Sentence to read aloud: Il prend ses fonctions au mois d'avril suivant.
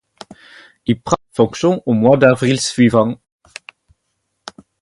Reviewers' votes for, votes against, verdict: 2, 4, rejected